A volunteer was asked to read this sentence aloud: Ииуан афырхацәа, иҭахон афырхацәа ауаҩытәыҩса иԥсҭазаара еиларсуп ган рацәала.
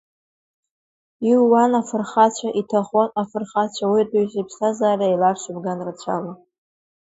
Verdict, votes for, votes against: accepted, 2, 1